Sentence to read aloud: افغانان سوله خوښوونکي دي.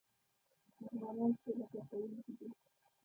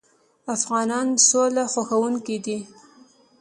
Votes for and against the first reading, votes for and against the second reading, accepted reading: 1, 2, 2, 0, second